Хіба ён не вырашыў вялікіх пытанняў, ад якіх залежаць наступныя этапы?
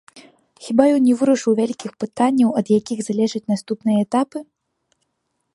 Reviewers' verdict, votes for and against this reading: accepted, 2, 0